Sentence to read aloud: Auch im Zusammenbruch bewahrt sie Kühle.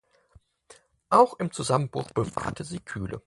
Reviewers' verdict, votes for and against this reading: rejected, 2, 4